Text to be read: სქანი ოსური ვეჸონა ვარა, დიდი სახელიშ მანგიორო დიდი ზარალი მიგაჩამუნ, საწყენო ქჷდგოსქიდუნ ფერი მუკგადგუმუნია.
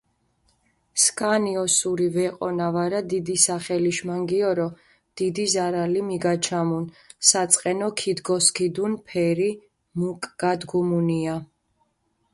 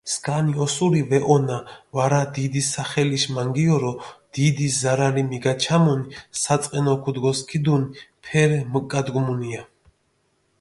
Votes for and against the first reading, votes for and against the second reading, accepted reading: 0, 2, 2, 0, second